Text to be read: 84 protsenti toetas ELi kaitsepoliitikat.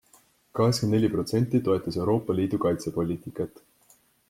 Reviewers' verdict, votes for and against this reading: rejected, 0, 2